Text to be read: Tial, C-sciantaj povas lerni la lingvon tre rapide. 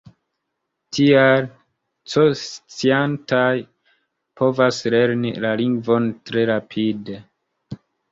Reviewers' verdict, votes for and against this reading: accepted, 2, 0